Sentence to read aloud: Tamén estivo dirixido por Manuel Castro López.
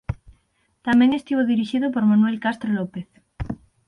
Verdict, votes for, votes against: rejected, 3, 6